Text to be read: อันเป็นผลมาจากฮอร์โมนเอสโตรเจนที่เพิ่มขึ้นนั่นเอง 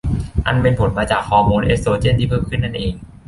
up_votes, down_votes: 2, 0